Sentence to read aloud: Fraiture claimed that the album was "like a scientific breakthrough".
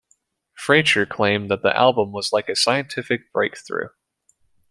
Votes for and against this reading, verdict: 2, 0, accepted